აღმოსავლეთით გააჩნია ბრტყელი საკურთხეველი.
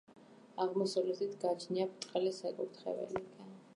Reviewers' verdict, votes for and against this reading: rejected, 1, 2